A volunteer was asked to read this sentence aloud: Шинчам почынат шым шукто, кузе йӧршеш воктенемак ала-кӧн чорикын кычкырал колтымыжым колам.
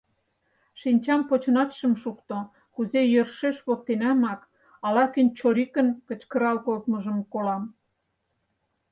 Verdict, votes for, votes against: rejected, 2, 4